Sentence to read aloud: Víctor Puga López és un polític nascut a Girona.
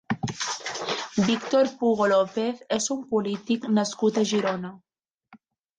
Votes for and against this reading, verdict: 1, 2, rejected